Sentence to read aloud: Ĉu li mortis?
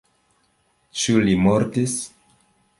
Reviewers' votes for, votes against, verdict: 2, 0, accepted